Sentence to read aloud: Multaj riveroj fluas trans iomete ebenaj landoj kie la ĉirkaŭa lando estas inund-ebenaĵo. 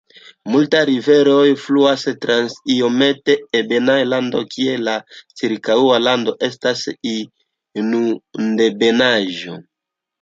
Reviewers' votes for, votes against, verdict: 1, 2, rejected